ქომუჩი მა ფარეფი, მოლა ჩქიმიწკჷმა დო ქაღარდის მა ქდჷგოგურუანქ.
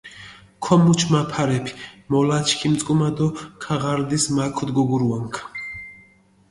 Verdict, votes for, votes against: accepted, 2, 1